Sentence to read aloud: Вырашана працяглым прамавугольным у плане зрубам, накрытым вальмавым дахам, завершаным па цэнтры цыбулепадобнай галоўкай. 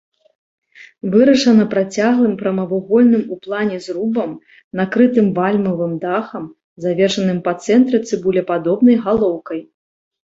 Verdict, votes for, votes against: accepted, 2, 0